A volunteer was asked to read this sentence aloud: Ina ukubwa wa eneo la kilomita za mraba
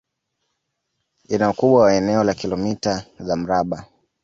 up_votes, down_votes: 2, 0